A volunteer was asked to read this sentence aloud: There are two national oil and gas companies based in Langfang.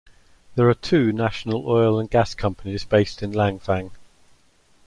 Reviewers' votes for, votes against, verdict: 2, 0, accepted